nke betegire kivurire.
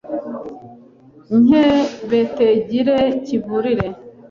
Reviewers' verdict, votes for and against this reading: rejected, 1, 2